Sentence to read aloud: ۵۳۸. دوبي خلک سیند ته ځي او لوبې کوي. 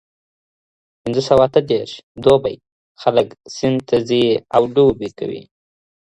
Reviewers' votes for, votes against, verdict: 0, 2, rejected